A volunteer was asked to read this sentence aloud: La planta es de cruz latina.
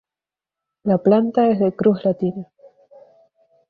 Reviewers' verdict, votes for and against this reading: accepted, 2, 0